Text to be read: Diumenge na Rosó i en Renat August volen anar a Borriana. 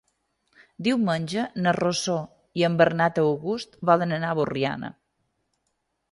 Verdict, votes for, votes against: accepted, 3, 1